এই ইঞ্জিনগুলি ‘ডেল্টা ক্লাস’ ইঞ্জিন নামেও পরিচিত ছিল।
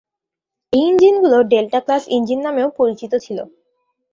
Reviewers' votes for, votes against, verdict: 2, 0, accepted